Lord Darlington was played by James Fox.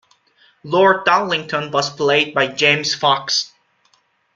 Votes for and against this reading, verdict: 2, 0, accepted